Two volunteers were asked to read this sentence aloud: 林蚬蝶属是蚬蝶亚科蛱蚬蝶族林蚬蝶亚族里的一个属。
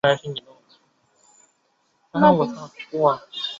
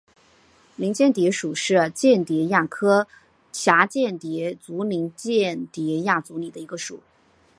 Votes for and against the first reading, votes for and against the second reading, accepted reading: 1, 2, 2, 0, second